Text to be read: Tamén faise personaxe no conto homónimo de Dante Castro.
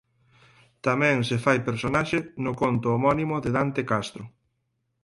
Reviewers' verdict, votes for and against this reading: rejected, 2, 4